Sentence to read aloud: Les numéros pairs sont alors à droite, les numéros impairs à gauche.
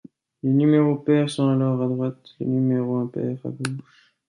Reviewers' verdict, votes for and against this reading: rejected, 1, 2